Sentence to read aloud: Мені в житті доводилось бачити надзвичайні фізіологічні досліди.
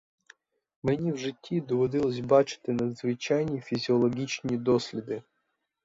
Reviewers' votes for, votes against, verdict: 4, 2, accepted